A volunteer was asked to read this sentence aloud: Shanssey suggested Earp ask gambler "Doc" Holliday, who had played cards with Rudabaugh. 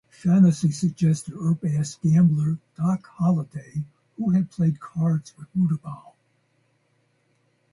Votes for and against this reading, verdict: 2, 4, rejected